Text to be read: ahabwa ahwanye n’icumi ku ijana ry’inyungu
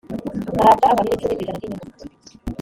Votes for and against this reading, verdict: 2, 3, rejected